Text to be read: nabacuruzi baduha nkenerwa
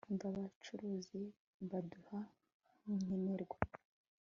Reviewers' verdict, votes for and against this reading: rejected, 0, 2